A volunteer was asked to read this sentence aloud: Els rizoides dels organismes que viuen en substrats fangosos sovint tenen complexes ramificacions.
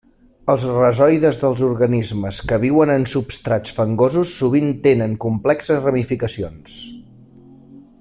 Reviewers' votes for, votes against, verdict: 1, 2, rejected